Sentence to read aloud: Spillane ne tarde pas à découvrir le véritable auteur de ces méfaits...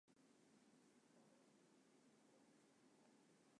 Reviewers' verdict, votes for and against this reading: rejected, 1, 2